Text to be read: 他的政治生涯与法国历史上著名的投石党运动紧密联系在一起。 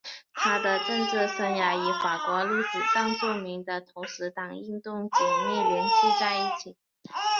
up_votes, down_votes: 3, 0